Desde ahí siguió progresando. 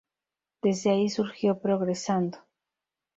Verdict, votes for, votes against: rejected, 0, 2